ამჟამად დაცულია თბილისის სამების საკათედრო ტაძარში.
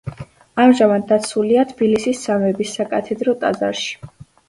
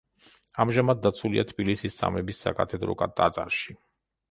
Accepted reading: first